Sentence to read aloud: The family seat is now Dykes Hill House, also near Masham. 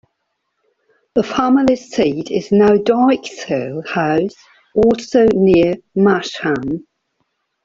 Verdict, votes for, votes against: rejected, 1, 2